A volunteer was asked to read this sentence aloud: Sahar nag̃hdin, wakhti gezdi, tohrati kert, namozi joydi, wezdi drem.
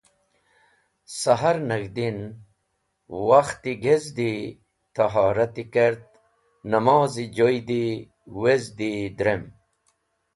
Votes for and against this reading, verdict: 2, 1, accepted